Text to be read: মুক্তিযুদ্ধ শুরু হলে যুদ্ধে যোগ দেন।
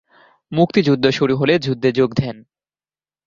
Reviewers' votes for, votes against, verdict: 2, 1, accepted